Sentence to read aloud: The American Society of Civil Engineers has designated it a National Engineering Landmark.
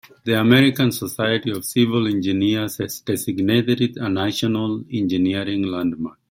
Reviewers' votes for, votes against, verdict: 2, 1, accepted